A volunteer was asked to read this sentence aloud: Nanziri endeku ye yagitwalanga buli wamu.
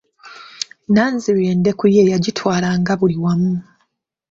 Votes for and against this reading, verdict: 2, 0, accepted